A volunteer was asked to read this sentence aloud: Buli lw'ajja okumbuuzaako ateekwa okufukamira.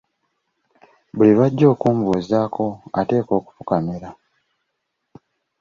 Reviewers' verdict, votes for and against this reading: accepted, 2, 0